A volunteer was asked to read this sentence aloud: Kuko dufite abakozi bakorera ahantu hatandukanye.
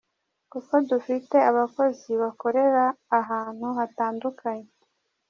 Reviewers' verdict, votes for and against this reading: accepted, 2, 0